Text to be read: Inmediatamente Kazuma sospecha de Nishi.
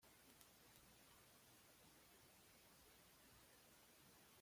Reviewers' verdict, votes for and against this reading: rejected, 1, 2